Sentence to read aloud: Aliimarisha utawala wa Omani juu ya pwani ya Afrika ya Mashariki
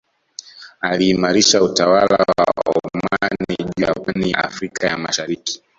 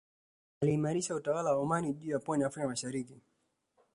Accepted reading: second